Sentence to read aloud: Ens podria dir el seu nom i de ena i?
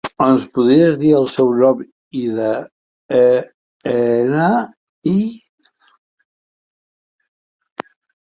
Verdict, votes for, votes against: rejected, 0, 2